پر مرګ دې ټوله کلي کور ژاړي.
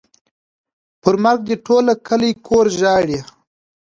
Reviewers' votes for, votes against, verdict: 2, 0, accepted